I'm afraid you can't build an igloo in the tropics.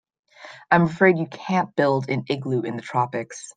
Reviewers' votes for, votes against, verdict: 2, 0, accepted